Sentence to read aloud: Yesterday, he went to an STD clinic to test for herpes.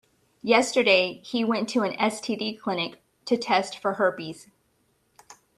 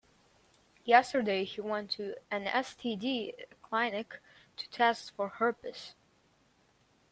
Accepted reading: first